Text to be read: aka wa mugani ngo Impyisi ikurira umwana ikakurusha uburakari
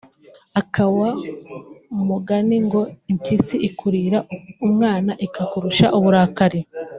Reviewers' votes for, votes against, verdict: 1, 2, rejected